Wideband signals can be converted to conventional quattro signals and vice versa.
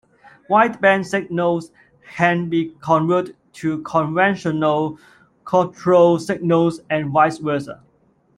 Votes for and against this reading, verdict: 1, 2, rejected